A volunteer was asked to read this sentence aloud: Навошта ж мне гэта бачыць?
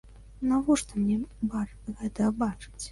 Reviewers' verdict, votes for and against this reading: rejected, 1, 3